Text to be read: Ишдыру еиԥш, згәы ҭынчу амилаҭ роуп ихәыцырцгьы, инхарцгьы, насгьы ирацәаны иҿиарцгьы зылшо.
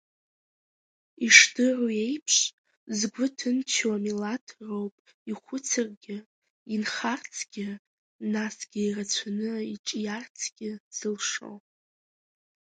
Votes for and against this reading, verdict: 2, 0, accepted